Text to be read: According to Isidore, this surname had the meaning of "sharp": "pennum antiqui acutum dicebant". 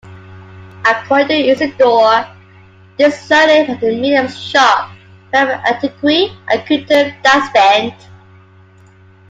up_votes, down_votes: 1, 2